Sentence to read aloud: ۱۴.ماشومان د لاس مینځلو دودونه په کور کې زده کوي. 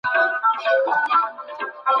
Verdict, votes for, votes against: rejected, 0, 2